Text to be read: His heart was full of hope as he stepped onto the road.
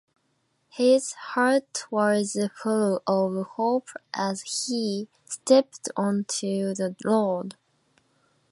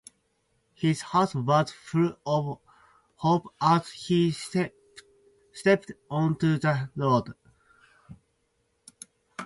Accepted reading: first